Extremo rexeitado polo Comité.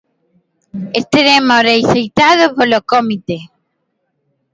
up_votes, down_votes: 0, 2